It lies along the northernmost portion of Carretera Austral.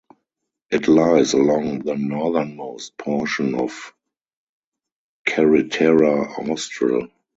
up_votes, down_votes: 2, 2